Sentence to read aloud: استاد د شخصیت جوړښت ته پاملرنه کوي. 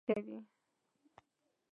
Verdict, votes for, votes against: accepted, 2, 0